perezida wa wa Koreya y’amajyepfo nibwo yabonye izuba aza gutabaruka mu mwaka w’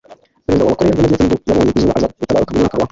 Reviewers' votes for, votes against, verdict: 1, 2, rejected